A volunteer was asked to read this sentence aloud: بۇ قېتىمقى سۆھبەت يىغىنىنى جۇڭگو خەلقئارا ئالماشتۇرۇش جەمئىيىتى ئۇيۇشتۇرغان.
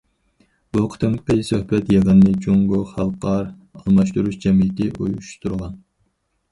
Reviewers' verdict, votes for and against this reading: rejected, 0, 4